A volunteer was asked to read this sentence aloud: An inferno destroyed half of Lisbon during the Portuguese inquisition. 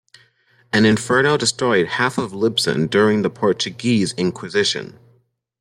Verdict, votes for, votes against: accepted, 2, 0